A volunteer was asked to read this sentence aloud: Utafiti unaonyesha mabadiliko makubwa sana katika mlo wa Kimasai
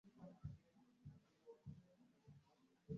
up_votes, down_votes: 0, 2